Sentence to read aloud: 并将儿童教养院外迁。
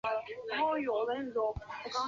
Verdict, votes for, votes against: rejected, 0, 2